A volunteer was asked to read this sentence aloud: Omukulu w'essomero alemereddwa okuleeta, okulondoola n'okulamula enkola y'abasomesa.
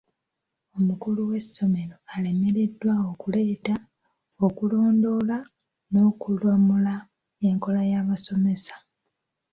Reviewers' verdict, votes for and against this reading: rejected, 1, 3